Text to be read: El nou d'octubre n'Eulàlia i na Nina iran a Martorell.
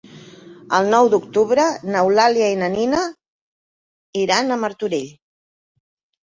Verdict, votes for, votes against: accepted, 3, 0